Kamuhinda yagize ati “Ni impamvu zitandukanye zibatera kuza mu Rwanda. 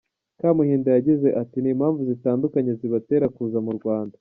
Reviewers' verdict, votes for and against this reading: accepted, 2, 0